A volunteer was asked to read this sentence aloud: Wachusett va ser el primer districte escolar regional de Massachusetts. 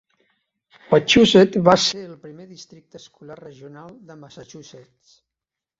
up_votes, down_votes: 1, 2